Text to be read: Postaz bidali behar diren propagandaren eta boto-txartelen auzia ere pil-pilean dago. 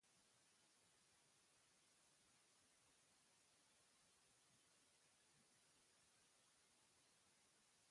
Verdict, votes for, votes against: rejected, 0, 2